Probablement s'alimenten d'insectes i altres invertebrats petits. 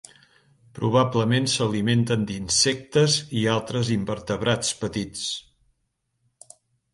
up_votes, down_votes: 4, 0